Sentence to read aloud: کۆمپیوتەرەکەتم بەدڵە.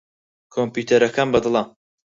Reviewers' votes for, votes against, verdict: 0, 4, rejected